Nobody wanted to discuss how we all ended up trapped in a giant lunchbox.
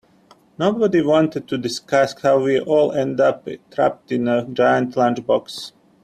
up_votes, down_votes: 1, 2